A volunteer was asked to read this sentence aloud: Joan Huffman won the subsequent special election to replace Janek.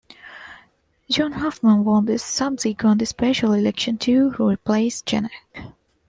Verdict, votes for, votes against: accepted, 2, 0